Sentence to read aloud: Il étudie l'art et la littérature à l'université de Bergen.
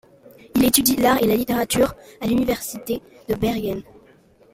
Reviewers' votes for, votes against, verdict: 2, 1, accepted